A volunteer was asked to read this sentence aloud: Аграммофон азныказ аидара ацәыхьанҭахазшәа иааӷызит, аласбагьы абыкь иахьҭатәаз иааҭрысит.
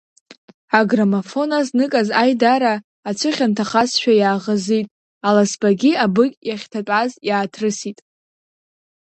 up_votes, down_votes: 2, 0